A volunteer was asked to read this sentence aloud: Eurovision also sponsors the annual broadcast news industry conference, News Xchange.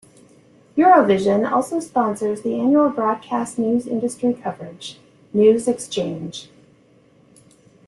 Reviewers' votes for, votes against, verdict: 0, 2, rejected